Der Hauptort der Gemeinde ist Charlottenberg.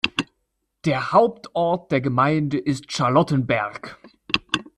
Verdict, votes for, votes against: accepted, 2, 1